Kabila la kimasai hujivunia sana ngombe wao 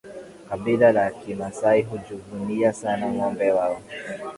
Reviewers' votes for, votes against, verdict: 5, 1, accepted